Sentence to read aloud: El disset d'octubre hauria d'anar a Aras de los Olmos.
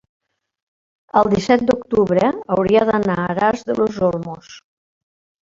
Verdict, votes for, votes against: rejected, 1, 2